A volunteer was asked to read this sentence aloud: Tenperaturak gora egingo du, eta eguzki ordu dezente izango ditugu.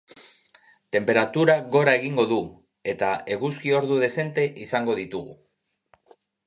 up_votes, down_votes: 2, 0